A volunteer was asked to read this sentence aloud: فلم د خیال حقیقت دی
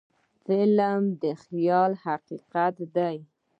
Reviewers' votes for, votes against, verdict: 2, 0, accepted